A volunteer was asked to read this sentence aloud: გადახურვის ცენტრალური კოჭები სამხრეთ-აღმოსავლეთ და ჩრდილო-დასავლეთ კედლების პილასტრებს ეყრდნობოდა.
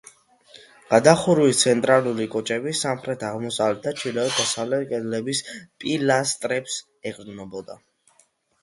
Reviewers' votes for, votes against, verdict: 2, 0, accepted